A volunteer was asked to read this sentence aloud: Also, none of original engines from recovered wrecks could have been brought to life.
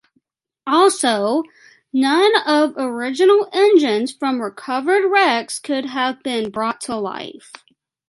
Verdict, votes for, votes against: accepted, 2, 1